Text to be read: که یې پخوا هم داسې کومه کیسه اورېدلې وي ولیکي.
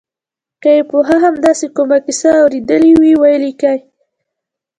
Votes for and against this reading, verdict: 1, 2, rejected